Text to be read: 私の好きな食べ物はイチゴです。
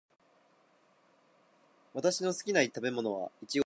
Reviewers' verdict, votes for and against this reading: rejected, 0, 2